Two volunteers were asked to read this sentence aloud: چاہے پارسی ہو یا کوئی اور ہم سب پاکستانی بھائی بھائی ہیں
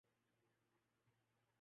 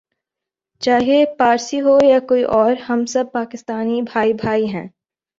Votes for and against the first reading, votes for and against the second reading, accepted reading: 0, 2, 12, 3, second